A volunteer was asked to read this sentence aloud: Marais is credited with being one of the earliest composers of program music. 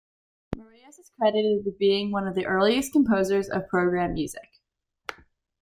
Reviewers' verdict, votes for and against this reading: rejected, 0, 2